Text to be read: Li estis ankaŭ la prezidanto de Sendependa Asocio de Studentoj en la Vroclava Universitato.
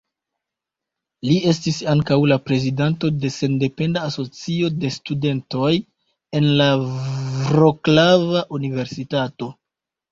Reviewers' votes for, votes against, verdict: 2, 3, rejected